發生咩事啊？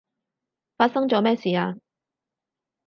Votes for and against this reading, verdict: 0, 4, rejected